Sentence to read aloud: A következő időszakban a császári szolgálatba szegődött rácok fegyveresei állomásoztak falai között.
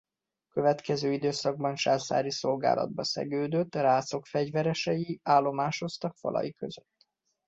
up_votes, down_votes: 0, 2